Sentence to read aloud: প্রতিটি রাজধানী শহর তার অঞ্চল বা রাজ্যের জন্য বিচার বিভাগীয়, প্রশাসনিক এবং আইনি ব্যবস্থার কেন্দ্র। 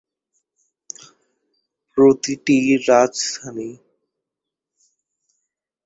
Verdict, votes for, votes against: rejected, 0, 2